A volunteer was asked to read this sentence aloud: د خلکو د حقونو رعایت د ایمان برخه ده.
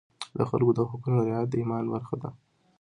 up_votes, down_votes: 2, 0